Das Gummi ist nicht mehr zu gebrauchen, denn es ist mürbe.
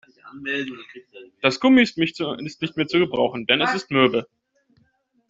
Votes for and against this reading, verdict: 0, 2, rejected